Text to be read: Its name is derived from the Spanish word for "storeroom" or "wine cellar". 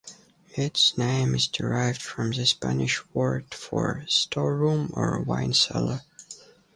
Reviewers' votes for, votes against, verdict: 2, 0, accepted